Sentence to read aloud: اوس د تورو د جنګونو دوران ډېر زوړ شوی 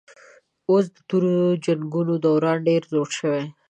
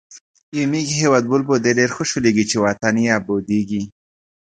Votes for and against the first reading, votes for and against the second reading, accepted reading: 2, 0, 1, 2, first